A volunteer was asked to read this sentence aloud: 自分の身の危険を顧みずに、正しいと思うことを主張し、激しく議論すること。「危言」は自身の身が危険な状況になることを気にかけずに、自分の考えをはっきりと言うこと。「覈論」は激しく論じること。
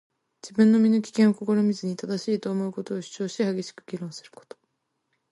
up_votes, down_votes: 0, 2